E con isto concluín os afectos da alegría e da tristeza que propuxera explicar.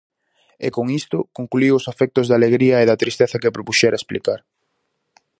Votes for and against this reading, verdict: 0, 4, rejected